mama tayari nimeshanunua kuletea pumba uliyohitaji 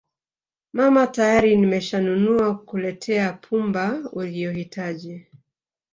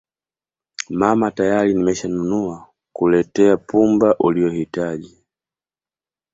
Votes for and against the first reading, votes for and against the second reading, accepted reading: 1, 2, 2, 1, second